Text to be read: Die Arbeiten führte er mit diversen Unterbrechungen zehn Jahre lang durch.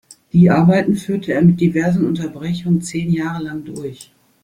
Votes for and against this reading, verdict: 2, 0, accepted